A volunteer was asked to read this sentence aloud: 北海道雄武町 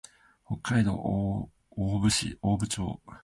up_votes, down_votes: 3, 2